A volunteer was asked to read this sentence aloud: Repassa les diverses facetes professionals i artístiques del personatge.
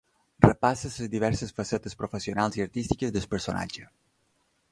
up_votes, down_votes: 2, 1